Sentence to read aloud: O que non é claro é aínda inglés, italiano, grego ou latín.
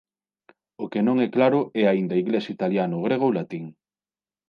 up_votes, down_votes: 2, 0